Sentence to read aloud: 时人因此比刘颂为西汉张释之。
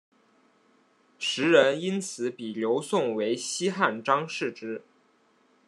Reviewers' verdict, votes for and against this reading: accepted, 2, 0